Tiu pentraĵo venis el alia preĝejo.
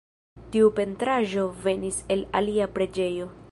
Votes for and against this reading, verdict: 2, 0, accepted